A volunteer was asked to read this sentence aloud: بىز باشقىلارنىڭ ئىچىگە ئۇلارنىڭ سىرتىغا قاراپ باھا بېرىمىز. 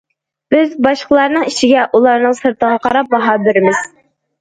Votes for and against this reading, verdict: 2, 0, accepted